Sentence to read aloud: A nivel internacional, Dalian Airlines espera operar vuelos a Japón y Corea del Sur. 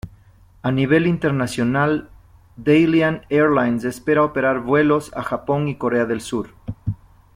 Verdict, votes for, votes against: accepted, 2, 0